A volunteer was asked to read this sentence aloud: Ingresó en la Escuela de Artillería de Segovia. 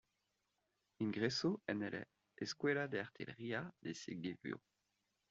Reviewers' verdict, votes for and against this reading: rejected, 1, 2